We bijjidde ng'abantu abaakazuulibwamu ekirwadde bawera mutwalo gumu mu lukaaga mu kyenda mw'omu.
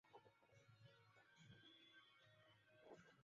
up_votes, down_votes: 0, 3